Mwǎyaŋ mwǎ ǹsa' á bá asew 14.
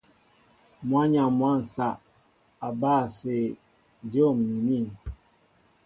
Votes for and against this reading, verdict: 0, 2, rejected